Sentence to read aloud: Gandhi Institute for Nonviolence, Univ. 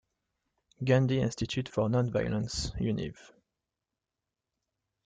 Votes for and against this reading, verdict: 2, 1, accepted